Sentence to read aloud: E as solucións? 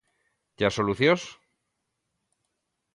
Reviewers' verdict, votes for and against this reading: accepted, 2, 0